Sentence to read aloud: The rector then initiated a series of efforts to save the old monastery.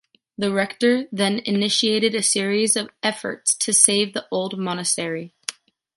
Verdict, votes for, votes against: rejected, 0, 2